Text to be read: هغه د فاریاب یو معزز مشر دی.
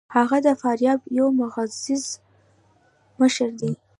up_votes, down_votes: 0, 2